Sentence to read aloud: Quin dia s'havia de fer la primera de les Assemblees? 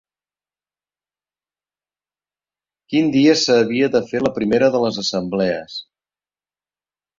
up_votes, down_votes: 2, 3